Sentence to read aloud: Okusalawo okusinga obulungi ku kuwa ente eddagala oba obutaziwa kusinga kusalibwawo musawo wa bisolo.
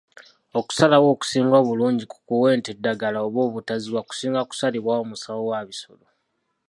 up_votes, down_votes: 2, 1